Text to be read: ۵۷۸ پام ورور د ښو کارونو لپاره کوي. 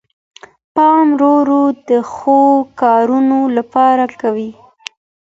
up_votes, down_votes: 0, 2